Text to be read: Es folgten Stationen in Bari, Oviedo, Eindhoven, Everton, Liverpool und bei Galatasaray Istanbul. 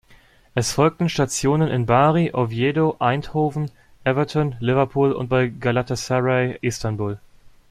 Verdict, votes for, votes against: rejected, 0, 2